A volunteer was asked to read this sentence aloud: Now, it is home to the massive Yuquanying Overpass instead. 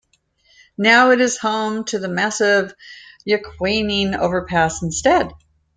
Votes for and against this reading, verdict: 2, 0, accepted